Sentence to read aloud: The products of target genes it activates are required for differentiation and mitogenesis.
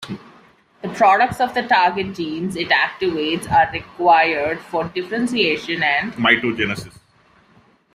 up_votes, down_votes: 2, 0